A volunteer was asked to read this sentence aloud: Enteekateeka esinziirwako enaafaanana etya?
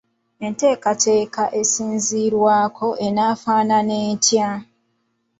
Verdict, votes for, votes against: accepted, 2, 1